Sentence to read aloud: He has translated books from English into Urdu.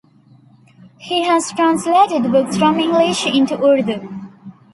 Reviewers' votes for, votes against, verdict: 2, 0, accepted